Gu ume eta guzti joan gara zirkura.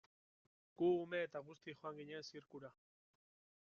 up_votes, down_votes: 0, 2